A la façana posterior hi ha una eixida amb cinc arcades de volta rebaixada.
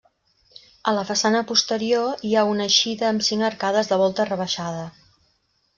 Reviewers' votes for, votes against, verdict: 3, 0, accepted